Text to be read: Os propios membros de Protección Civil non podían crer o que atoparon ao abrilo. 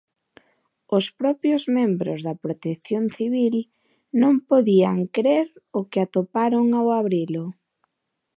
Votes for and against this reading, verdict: 0, 2, rejected